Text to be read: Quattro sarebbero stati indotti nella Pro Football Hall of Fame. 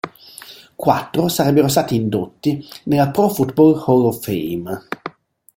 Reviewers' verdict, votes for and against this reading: accepted, 3, 0